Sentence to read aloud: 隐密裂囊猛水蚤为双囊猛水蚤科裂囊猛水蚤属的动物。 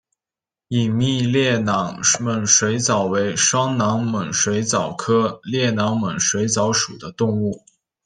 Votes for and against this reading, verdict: 2, 1, accepted